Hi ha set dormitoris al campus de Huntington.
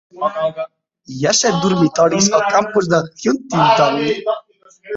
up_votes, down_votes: 0, 2